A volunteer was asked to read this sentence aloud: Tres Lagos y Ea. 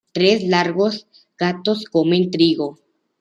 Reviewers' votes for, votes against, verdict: 0, 2, rejected